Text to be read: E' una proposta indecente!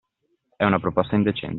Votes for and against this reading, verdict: 1, 2, rejected